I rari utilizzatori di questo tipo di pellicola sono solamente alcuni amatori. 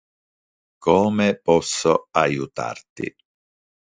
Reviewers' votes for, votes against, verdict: 0, 2, rejected